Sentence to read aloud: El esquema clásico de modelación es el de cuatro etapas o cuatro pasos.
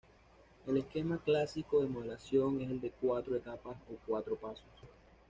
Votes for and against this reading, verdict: 2, 1, accepted